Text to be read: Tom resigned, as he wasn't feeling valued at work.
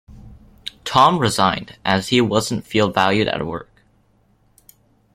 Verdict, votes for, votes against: accepted, 2, 1